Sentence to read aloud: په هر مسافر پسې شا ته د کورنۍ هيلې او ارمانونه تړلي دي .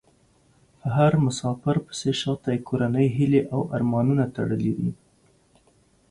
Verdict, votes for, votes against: accepted, 2, 0